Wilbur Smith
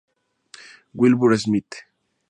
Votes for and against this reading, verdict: 2, 0, accepted